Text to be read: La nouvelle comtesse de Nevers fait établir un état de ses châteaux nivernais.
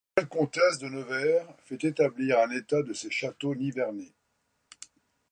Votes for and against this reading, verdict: 0, 2, rejected